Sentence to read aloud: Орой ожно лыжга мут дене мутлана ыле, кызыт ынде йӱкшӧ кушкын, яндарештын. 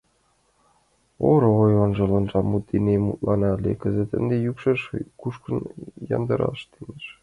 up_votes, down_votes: 0, 6